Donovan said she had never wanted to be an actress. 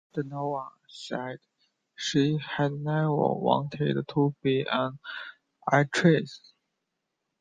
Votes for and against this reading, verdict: 2, 0, accepted